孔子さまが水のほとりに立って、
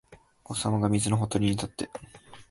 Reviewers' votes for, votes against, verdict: 0, 4, rejected